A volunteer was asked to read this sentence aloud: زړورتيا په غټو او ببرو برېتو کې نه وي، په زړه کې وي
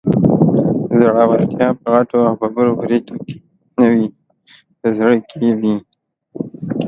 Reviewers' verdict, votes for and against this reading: accepted, 2, 1